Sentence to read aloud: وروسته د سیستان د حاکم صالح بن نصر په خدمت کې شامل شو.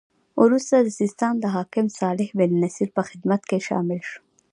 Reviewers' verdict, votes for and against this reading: accepted, 2, 0